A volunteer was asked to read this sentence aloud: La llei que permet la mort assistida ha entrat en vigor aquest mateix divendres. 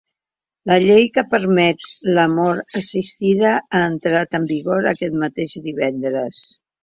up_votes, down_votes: 3, 0